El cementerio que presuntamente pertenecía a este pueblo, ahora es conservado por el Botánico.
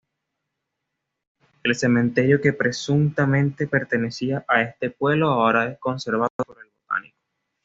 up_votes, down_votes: 1, 2